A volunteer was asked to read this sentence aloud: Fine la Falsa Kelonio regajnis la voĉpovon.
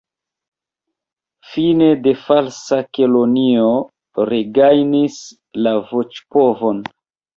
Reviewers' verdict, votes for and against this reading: rejected, 0, 3